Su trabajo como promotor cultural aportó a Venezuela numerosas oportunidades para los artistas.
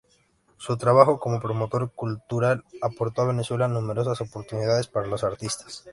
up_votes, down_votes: 2, 0